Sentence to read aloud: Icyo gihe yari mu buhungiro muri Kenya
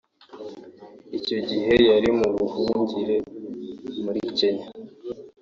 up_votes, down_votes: 3, 2